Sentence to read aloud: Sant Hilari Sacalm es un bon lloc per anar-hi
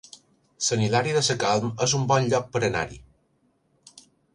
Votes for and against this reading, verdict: 0, 2, rejected